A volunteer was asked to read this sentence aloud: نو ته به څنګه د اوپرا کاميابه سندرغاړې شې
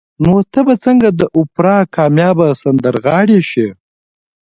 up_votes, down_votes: 2, 1